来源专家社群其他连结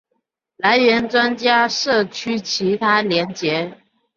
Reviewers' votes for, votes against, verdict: 0, 2, rejected